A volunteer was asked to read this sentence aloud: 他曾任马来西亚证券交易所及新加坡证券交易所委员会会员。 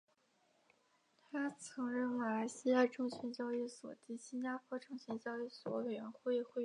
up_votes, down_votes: 0, 2